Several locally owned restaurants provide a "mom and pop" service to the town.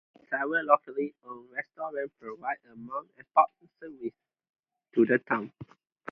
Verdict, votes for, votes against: rejected, 0, 2